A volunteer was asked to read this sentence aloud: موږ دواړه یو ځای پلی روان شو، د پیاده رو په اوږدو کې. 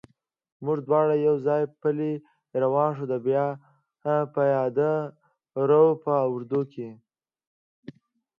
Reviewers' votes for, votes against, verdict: 1, 2, rejected